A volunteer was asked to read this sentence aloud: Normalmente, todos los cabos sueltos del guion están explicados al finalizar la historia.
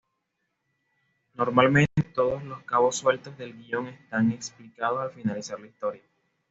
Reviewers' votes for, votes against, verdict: 2, 0, accepted